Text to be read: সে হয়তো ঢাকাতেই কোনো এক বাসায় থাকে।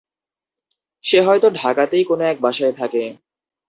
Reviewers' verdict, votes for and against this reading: accepted, 2, 0